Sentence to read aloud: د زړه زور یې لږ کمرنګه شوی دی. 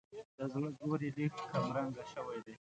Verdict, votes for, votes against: accepted, 2, 0